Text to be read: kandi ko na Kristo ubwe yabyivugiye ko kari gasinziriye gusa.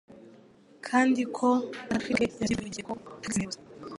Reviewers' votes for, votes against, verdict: 0, 2, rejected